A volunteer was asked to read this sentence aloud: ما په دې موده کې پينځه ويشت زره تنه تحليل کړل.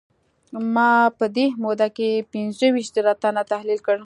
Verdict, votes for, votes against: accepted, 2, 1